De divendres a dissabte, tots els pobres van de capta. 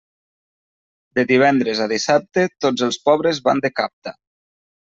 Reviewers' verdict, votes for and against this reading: accepted, 3, 0